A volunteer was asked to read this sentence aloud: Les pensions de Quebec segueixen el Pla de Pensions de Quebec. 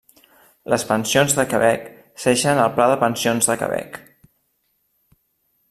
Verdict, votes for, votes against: rejected, 1, 2